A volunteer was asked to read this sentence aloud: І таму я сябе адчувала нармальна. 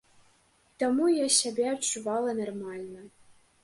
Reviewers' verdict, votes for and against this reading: rejected, 0, 2